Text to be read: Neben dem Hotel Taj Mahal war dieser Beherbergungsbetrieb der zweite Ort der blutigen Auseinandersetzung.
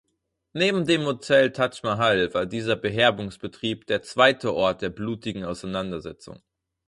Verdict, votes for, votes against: rejected, 2, 4